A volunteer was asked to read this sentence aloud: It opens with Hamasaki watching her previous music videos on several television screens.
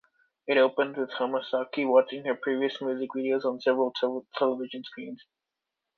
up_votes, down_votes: 0, 2